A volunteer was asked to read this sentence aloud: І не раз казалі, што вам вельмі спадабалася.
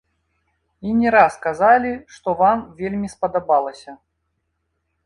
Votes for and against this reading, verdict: 0, 2, rejected